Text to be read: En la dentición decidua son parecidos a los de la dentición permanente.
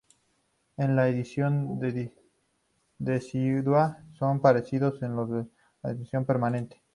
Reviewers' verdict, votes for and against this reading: rejected, 0, 2